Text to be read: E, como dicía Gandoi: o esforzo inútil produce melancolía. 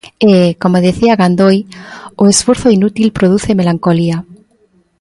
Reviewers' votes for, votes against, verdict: 1, 2, rejected